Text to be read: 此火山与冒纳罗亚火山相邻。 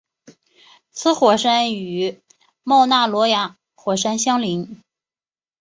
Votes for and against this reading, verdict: 2, 0, accepted